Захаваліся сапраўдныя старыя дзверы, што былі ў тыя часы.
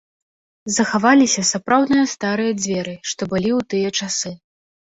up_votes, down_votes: 1, 2